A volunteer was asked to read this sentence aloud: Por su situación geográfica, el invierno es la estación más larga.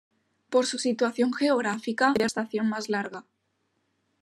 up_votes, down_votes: 0, 2